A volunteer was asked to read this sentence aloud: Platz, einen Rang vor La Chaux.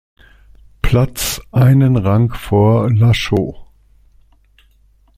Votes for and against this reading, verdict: 2, 0, accepted